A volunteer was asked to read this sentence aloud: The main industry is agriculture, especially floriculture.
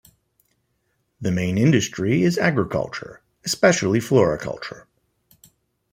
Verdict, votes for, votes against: accepted, 2, 0